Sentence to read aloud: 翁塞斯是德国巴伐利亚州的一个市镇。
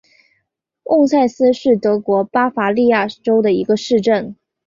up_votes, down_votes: 6, 0